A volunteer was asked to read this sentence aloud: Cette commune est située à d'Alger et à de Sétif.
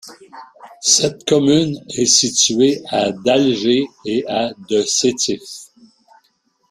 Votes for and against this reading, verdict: 2, 0, accepted